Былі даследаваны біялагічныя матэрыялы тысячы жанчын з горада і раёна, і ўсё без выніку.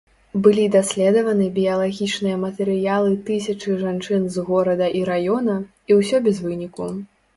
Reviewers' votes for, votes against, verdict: 0, 2, rejected